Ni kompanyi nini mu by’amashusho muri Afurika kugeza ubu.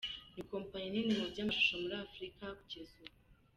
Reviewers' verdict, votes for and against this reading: accepted, 3, 0